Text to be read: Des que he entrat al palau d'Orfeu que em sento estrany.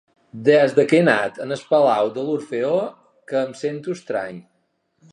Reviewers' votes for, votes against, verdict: 0, 2, rejected